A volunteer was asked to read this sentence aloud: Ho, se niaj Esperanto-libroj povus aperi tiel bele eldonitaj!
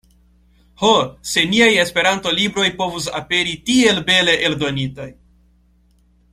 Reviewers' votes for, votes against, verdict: 2, 0, accepted